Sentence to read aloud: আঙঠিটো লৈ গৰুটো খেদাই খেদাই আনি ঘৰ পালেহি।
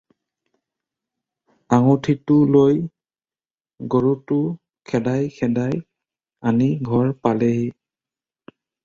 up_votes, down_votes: 2, 0